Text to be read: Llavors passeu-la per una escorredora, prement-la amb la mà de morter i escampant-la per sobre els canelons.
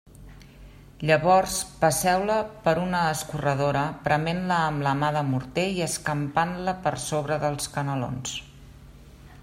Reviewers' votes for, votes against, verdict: 2, 0, accepted